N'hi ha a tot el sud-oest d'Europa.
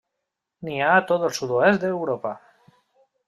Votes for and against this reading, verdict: 3, 0, accepted